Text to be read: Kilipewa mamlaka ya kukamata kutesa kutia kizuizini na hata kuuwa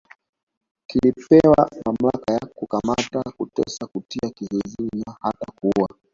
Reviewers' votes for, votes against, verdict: 1, 2, rejected